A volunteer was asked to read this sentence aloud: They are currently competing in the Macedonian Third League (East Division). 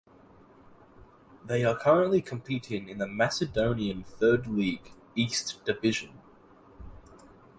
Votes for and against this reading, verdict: 2, 0, accepted